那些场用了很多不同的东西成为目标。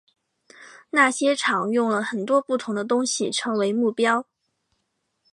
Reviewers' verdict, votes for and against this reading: accepted, 2, 0